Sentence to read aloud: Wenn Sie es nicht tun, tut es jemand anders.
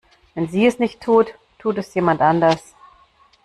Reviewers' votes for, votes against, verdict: 0, 2, rejected